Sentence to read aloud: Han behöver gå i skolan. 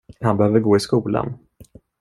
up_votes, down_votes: 2, 0